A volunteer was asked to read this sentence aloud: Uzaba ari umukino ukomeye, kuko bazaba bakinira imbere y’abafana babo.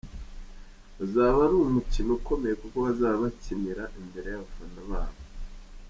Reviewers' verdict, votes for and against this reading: accepted, 2, 0